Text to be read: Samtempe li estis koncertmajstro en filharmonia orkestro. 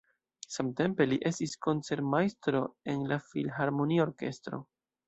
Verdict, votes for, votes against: accepted, 2, 0